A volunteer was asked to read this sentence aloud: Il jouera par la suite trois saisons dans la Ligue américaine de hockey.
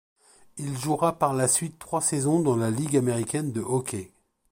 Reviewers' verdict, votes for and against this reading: accepted, 2, 0